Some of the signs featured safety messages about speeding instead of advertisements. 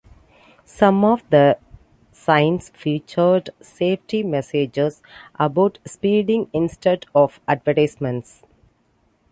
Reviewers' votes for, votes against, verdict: 2, 1, accepted